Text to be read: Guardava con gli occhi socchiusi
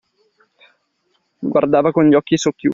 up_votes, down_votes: 1, 2